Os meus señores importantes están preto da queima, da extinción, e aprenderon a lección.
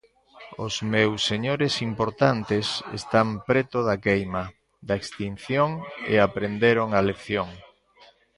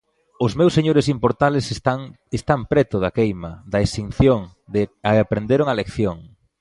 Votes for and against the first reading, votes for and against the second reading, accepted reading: 2, 0, 0, 2, first